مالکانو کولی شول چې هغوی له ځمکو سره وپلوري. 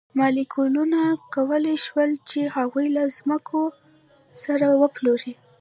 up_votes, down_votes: 0, 2